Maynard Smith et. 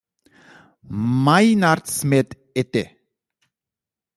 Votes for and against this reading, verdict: 2, 1, accepted